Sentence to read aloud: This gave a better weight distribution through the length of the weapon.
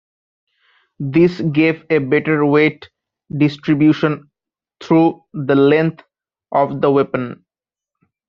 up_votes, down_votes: 1, 2